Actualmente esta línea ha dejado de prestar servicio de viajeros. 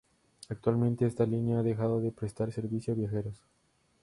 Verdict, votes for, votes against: rejected, 0, 2